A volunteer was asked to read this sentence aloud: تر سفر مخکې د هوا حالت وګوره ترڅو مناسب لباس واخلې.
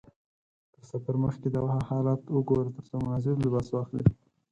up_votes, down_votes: 2, 4